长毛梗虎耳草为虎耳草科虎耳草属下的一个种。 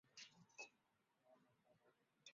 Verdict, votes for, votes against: rejected, 0, 2